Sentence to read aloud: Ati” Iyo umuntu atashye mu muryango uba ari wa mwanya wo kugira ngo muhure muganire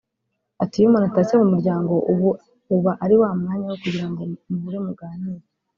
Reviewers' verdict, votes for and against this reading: rejected, 1, 2